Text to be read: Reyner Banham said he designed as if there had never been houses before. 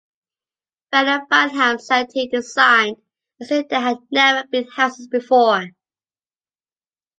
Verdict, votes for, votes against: rejected, 1, 2